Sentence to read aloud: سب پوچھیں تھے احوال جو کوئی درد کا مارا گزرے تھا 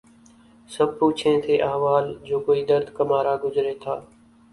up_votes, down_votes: 6, 1